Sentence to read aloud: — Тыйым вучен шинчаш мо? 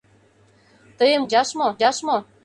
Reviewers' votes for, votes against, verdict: 0, 2, rejected